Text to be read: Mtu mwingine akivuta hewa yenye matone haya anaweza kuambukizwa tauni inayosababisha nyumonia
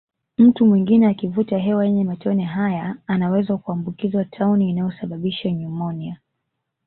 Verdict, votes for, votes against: accepted, 2, 0